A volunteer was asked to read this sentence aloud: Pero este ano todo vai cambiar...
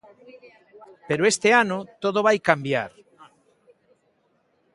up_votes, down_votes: 2, 0